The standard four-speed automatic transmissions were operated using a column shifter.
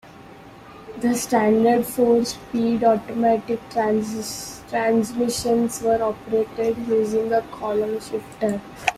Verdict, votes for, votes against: rejected, 1, 2